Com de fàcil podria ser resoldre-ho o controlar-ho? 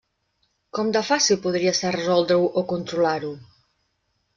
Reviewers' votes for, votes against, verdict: 2, 0, accepted